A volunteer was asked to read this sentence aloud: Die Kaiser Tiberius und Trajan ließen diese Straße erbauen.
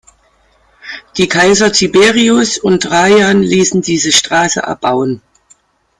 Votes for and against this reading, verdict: 2, 0, accepted